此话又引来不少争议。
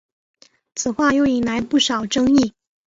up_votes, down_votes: 2, 0